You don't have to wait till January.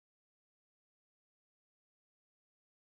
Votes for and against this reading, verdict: 0, 2, rejected